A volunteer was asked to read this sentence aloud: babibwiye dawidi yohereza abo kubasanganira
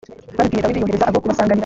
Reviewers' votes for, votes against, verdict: 1, 2, rejected